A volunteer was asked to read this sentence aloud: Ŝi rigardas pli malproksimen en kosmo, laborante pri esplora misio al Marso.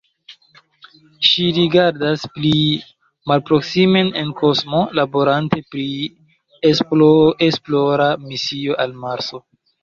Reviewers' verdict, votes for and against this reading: rejected, 0, 2